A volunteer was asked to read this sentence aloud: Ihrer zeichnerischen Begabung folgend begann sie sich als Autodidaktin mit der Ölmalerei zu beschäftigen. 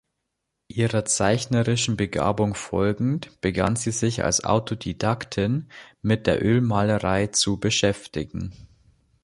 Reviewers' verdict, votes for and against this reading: accepted, 3, 0